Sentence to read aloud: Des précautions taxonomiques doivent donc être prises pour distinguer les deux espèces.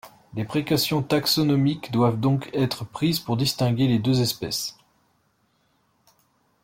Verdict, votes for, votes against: accepted, 2, 0